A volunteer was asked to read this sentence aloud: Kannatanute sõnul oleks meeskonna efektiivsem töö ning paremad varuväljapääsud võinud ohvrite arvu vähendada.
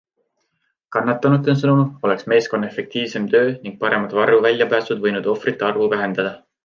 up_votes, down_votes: 2, 0